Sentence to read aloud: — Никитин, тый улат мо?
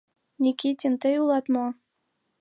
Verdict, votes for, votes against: accepted, 3, 0